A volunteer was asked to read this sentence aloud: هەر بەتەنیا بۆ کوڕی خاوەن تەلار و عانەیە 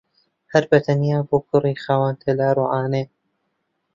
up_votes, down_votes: 2, 0